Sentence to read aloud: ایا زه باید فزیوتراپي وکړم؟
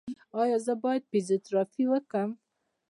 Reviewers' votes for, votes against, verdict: 0, 2, rejected